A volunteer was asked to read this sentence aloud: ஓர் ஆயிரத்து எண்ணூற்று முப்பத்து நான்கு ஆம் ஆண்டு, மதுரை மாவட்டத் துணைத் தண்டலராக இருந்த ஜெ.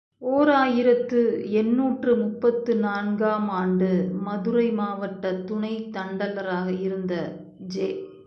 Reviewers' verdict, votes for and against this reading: accepted, 3, 0